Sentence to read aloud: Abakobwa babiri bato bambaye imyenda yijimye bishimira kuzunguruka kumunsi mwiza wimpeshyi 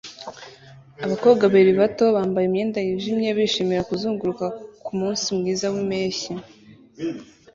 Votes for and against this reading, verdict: 2, 0, accepted